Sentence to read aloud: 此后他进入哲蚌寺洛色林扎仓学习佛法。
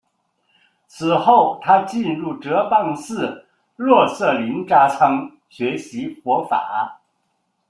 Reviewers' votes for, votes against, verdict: 2, 0, accepted